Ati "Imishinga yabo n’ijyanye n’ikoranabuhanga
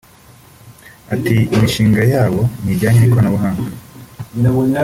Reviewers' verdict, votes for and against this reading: accepted, 2, 0